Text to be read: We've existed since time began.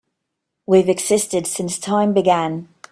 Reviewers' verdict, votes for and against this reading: accepted, 2, 0